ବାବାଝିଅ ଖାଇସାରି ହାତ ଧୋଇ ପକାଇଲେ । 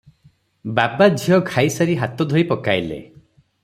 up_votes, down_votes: 3, 3